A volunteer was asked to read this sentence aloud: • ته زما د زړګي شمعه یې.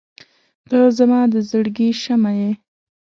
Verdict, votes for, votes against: accepted, 2, 0